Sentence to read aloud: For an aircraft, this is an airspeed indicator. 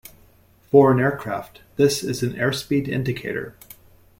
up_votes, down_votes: 2, 1